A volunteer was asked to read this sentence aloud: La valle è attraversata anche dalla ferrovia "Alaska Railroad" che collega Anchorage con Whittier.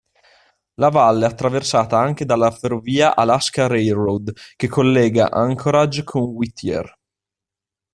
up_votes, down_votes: 0, 2